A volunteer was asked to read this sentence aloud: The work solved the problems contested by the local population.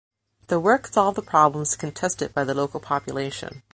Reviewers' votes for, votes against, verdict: 2, 0, accepted